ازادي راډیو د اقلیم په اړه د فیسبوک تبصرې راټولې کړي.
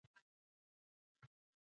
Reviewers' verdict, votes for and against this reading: rejected, 1, 2